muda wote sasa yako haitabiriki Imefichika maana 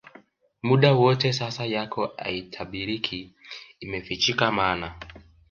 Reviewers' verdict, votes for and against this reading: accepted, 2, 1